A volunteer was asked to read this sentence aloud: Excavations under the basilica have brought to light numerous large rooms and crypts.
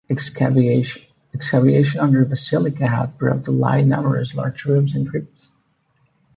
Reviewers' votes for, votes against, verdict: 0, 2, rejected